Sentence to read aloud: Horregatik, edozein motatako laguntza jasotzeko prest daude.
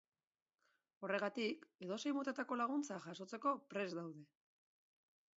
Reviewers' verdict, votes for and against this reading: accepted, 2, 0